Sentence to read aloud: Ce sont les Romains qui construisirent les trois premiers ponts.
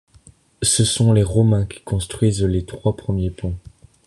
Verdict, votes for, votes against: rejected, 1, 2